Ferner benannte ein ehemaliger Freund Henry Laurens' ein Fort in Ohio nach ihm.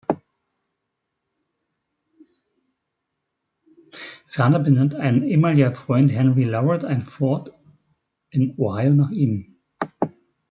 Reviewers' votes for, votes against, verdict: 0, 2, rejected